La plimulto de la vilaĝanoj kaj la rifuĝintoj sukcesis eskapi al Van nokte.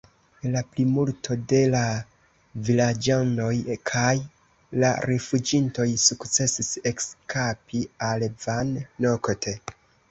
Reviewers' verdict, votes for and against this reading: rejected, 1, 2